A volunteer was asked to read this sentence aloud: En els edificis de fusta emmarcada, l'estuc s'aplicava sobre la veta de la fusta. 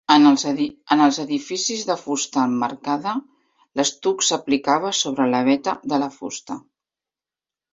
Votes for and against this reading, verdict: 1, 2, rejected